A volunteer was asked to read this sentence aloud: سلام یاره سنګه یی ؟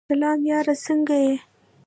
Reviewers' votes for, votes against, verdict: 0, 2, rejected